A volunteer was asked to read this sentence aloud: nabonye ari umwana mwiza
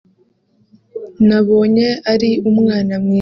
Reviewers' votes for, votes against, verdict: 0, 2, rejected